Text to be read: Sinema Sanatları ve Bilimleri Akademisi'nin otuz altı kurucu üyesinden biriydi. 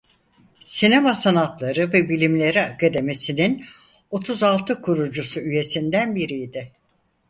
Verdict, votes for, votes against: rejected, 0, 4